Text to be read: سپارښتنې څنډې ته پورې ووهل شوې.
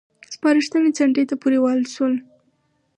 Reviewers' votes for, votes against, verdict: 4, 0, accepted